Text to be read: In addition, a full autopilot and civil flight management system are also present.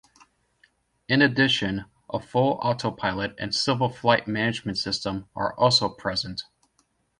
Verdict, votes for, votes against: accepted, 2, 0